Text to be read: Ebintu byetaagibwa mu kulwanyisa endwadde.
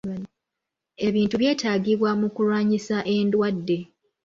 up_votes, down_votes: 1, 2